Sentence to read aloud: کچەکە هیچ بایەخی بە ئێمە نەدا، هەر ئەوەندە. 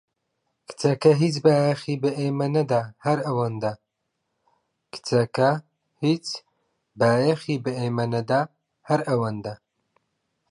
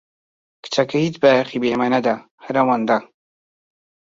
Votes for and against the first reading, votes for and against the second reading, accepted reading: 1, 2, 2, 0, second